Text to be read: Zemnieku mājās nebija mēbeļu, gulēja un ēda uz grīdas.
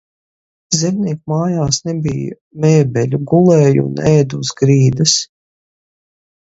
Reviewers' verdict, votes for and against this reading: accepted, 4, 0